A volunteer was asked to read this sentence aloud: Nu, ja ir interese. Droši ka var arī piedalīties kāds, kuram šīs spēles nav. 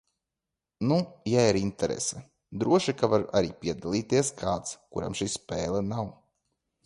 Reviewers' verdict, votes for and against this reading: rejected, 1, 2